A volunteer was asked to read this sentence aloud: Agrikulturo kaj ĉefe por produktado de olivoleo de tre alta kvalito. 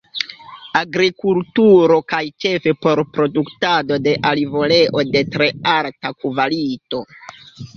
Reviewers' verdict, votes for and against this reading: accepted, 2, 1